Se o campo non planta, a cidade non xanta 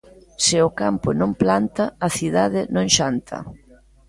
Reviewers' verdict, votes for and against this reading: accepted, 2, 0